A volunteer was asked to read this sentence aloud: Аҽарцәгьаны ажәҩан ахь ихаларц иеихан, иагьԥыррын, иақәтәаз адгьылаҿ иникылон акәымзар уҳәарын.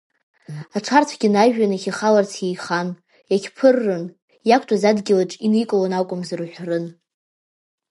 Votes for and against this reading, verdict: 0, 2, rejected